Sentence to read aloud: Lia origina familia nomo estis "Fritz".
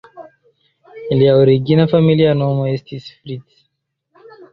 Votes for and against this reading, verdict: 2, 0, accepted